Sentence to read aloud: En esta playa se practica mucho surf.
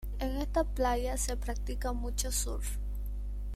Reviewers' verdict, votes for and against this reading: accepted, 2, 0